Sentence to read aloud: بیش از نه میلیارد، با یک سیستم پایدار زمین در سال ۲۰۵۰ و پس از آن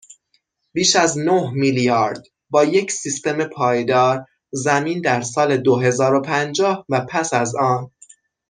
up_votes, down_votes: 0, 2